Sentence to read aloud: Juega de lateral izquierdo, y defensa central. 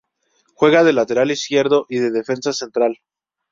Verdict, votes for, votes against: accepted, 2, 0